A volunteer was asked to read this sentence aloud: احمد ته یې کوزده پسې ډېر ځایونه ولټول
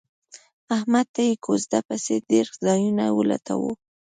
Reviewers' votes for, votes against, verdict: 2, 1, accepted